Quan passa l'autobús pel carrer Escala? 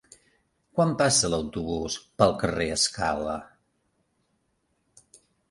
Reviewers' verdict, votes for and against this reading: accepted, 3, 1